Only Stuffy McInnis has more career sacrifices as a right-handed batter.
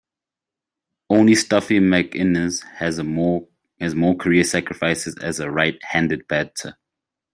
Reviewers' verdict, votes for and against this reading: rejected, 0, 2